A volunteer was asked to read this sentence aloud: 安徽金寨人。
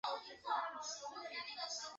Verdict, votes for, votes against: rejected, 2, 3